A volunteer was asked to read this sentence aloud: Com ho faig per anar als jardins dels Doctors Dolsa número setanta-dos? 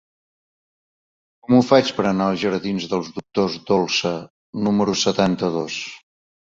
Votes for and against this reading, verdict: 1, 2, rejected